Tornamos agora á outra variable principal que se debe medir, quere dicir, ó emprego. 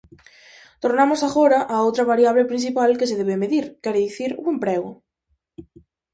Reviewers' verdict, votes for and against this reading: accepted, 4, 0